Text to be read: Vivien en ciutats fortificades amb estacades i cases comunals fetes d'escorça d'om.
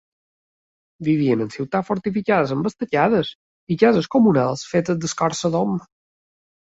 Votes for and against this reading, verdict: 2, 0, accepted